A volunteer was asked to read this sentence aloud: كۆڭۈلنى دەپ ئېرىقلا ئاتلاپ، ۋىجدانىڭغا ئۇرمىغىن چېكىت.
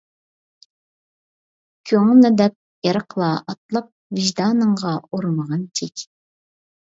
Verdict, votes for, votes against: rejected, 0, 2